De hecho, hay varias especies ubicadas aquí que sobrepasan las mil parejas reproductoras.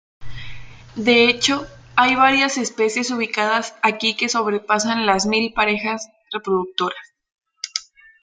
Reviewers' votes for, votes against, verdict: 2, 0, accepted